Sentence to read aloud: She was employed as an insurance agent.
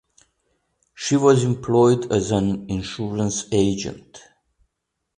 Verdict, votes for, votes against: accepted, 2, 0